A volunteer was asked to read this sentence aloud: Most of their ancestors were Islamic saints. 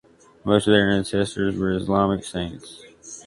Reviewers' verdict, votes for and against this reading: accepted, 2, 1